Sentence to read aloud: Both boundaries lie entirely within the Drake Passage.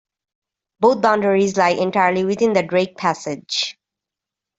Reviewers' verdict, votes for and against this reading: accepted, 2, 0